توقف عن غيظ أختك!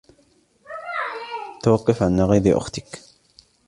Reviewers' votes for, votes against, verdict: 0, 2, rejected